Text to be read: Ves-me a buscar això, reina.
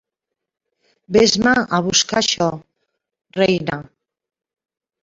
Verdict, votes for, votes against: accepted, 3, 1